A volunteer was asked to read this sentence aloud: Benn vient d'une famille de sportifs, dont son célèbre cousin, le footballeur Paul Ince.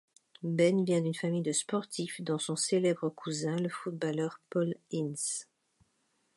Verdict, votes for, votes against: rejected, 0, 2